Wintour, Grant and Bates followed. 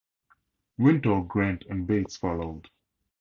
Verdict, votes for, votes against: accepted, 2, 0